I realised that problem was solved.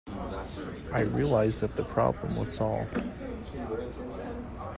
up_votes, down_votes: 1, 2